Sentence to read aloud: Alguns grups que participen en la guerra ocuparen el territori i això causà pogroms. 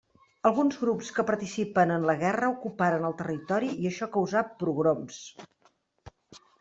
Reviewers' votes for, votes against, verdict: 0, 2, rejected